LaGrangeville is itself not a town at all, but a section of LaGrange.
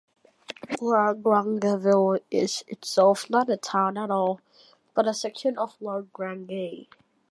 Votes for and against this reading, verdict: 0, 2, rejected